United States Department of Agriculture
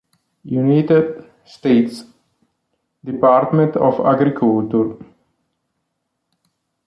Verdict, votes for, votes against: rejected, 1, 2